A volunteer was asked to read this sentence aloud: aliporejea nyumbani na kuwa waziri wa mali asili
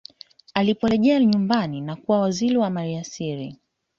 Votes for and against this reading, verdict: 2, 0, accepted